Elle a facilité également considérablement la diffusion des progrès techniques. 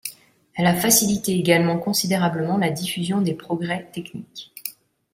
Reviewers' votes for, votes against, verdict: 2, 0, accepted